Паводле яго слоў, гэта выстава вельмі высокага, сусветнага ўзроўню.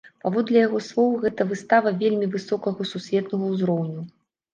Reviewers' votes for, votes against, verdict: 2, 0, accepted